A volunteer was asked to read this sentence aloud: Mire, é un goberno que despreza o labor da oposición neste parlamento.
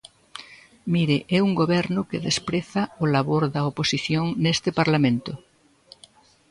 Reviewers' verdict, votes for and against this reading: rejected, 1, 2